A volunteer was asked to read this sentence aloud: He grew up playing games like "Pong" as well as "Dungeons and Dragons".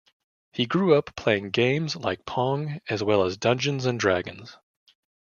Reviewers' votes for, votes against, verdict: 2, 0, accepted